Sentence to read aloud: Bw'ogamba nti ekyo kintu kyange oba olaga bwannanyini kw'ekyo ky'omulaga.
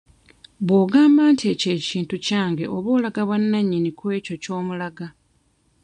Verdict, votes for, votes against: accepted, 2, 0